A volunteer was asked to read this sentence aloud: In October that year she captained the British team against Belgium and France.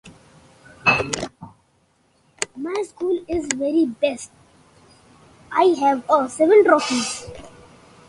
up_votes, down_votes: 0, 2